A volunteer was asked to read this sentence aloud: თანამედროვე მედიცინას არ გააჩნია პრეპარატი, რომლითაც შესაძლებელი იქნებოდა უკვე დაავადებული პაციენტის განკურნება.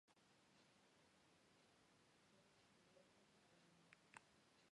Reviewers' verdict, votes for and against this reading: rejected, 1, 2